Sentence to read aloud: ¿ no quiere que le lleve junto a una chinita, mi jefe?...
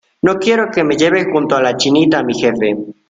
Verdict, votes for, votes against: rejected, 0, 2